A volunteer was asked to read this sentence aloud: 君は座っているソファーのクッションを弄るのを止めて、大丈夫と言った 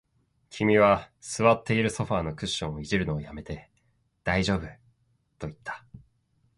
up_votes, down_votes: 4, 0